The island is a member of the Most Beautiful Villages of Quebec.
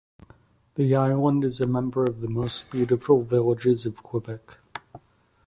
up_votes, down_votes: 2, 0